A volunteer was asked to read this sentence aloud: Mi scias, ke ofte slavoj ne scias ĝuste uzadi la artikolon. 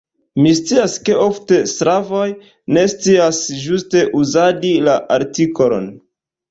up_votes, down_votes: 1, 2